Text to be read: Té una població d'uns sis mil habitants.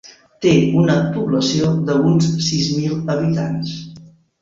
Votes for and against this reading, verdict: 1, 2, rejected